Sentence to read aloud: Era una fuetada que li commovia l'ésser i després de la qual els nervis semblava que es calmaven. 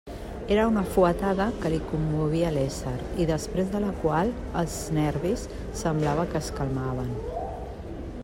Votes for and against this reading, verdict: 3, 0, accepted